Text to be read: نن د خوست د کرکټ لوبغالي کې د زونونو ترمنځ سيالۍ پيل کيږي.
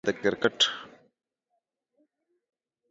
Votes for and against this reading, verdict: 0, 3, rejected